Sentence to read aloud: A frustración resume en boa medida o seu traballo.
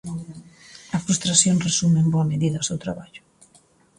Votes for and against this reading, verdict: 2, 0, accepted